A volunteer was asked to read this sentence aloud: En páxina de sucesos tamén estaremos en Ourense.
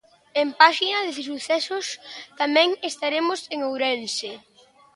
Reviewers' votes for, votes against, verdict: 1, 2, rejected